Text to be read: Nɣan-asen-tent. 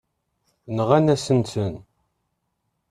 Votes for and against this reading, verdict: 1, 3, rejected